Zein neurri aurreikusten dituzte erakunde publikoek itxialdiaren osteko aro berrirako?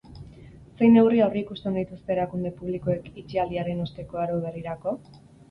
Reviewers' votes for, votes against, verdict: 4, 0, accepted